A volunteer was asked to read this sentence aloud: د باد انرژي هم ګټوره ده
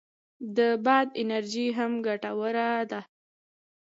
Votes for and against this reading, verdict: 2, 0, accepted